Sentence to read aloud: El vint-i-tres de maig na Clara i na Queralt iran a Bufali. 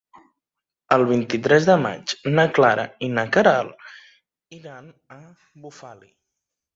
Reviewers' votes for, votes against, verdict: 0, 2, rejected